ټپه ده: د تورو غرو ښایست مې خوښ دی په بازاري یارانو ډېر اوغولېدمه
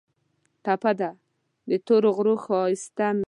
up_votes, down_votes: 0, 2